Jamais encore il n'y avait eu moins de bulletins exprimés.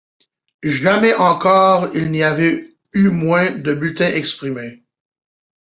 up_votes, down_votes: 2, 0